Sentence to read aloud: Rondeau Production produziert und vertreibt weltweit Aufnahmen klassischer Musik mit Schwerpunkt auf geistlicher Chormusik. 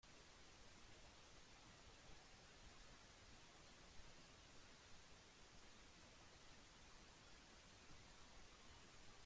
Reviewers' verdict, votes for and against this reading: rejected, 0, 2